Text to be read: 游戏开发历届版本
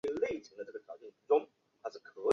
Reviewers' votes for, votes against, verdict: 1, 2, rejected